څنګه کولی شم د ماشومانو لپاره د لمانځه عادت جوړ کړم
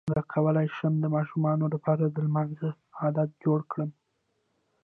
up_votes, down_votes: 2, 0